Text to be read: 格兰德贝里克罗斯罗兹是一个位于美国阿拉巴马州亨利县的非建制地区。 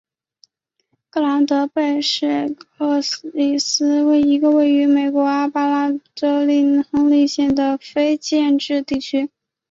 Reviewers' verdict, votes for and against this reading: accepted, 2, 0